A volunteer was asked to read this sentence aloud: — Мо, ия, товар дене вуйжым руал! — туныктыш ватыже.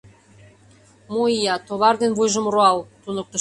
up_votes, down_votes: 0, 2